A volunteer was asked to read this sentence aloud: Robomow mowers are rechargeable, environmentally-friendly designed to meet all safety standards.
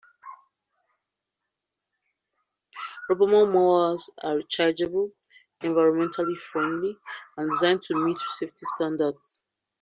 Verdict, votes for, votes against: rejected, 0, 2